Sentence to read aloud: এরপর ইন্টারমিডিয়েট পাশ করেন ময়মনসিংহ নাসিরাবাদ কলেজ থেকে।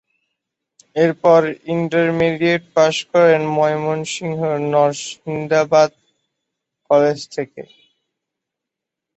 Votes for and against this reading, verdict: 1, 2, rejected